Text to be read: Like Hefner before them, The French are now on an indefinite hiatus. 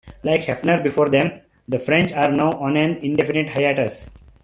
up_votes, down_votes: 2, 0